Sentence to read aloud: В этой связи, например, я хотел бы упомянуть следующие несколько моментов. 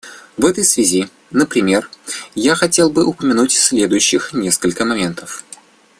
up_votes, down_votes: 0, 2